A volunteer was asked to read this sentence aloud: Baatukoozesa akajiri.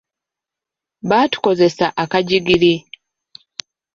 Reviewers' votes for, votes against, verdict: 1, 2, rejected